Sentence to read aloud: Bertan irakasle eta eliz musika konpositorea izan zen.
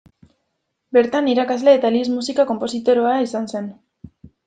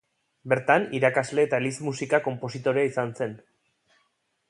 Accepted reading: second